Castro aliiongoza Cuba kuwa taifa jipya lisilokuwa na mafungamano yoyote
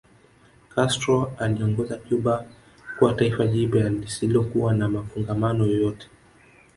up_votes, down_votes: 3, 1